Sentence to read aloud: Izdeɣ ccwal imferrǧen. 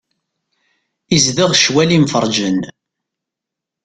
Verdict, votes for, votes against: accepted, 2, 0